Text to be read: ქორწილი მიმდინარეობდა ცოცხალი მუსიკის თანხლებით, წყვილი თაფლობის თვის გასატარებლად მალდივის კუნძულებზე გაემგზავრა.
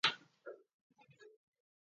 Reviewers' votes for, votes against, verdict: 0, 2, rejected